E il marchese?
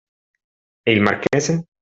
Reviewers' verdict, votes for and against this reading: accepted, 2, 0